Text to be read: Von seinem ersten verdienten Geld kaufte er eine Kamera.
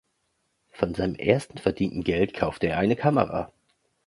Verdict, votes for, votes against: accepted, 2, 0